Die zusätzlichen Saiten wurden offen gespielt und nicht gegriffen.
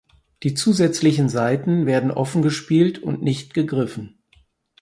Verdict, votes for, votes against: rejected, 2, 4